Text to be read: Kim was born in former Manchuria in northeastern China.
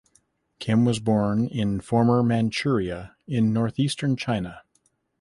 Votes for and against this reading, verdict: 2, 0, accepted